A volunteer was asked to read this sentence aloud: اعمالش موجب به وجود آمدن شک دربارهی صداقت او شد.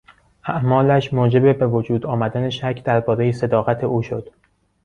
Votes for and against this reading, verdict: 2, 0, accepted